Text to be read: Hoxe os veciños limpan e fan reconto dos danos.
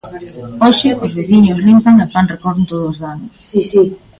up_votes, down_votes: 0, 2